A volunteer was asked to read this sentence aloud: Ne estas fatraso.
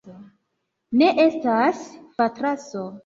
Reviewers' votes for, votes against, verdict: 2, 0, accepted